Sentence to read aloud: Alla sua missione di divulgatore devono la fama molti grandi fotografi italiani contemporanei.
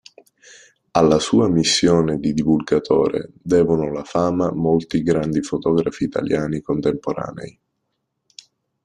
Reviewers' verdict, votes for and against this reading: accepted, 2, 1